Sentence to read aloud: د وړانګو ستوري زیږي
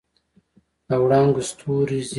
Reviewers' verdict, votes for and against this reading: accepted, 2, 0